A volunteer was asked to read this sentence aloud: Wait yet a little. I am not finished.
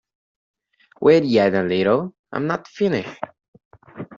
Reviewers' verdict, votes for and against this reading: accepted, 2, 0